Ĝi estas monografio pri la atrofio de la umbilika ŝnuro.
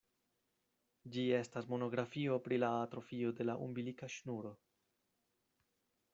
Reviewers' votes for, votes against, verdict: 2, 0, accepted